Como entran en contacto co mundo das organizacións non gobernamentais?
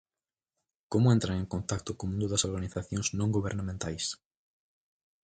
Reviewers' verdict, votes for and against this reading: accepted, 6, 0